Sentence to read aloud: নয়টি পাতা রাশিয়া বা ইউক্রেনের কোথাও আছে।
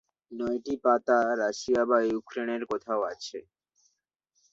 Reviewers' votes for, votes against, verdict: 6, 0, accepted